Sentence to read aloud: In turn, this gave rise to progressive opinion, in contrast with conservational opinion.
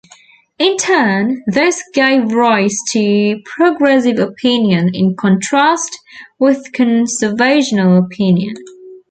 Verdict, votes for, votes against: accepted, 2, 0